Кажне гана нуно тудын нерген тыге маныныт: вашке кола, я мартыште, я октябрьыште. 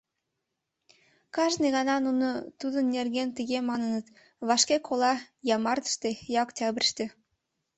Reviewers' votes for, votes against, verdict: 2, 0, accepted